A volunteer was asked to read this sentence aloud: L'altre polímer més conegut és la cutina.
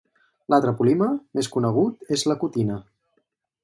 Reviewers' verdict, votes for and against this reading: rejected, 0, 2